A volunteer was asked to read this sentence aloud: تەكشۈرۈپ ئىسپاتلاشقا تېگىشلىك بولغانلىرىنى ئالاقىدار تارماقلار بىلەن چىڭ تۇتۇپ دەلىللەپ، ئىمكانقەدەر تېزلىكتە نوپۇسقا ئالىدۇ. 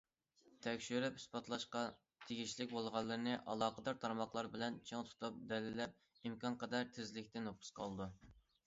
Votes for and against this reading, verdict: 2, 0, accepted